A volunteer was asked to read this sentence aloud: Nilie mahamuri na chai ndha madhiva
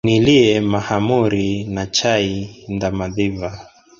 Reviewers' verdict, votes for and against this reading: rejected, 1, 3